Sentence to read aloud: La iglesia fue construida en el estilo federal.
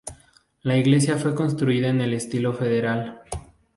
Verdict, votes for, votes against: accepted, 4, 0